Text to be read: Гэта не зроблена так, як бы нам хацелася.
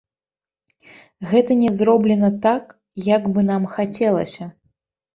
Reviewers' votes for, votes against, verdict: 0, 2, rejected